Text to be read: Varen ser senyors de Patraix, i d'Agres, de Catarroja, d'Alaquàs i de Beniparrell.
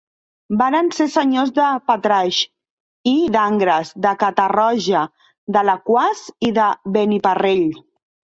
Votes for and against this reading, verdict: 1, 3, rejected